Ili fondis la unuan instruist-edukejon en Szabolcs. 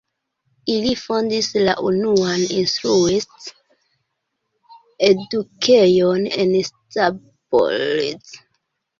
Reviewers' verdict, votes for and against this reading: rejected, 2, 3